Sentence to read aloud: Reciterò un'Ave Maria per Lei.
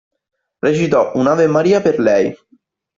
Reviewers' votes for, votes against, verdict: 1, 2, rejected